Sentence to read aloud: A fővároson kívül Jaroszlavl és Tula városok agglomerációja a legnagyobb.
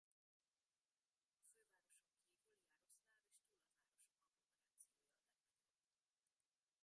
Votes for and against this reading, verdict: 0, 2, rejected